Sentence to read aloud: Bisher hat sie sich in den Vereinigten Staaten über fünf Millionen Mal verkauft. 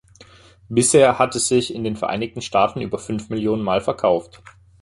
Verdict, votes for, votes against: rejected, 0, 2